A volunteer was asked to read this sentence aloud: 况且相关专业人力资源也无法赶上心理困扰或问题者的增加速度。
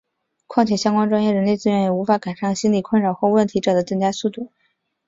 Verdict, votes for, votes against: accepted, 3, 0